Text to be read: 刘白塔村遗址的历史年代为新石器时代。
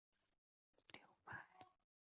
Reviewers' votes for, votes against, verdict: 0, 6, rejected